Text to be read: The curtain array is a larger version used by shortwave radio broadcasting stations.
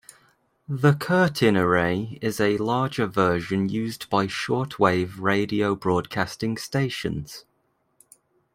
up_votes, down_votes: 2, 0